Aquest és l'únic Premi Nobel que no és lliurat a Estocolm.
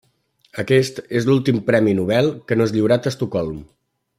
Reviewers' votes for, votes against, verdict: 1, 2, rejected